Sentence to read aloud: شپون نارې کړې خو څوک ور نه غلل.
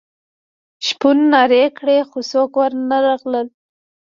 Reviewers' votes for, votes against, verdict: 1, 2, rejected